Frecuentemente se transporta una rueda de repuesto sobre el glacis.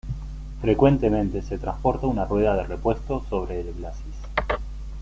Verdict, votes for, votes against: rejected, 1, 2